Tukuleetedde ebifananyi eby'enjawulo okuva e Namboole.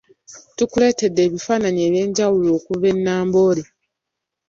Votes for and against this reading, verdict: 0, 2, rejected